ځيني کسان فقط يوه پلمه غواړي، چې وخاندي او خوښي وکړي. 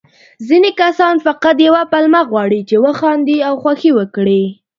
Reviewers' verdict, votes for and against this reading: accepted, 2, 0